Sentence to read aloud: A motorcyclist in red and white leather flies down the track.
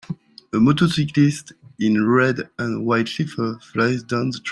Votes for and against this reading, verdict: 2, 4, rejected